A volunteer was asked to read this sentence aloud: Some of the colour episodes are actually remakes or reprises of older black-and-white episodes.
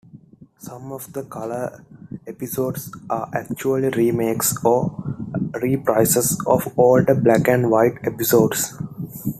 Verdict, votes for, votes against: accepted, 2, 0